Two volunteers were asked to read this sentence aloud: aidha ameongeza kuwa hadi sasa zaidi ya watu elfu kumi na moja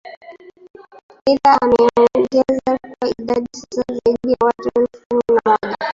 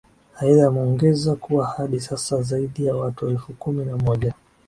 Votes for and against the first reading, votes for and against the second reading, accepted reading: 0, 2, 9, 0, second